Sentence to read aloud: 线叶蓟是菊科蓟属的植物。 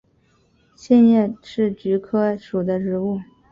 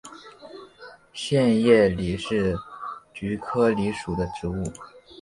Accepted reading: second